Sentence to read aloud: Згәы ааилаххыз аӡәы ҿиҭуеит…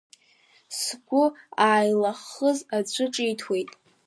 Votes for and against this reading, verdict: 2, 1, accepted